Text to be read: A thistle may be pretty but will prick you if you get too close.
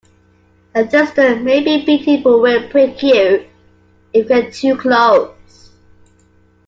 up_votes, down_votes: 0, 2